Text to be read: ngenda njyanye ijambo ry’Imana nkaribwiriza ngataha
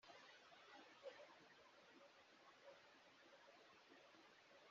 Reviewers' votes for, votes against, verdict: 0, 2, rejected